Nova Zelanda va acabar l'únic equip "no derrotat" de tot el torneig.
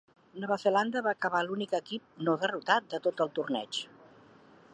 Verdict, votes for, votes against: accepted, 2, 0